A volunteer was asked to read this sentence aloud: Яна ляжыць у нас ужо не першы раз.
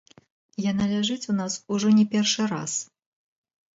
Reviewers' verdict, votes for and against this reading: rejected, 1, 2